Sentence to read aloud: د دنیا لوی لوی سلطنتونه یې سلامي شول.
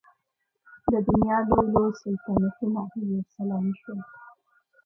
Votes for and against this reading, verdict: 0, 2, rejected